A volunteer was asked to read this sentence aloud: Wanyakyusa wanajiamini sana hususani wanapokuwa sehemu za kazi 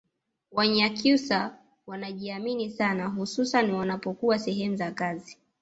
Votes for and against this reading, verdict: 2, 0, accepted